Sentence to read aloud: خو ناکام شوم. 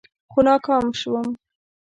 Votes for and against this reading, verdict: 2, 0, accepted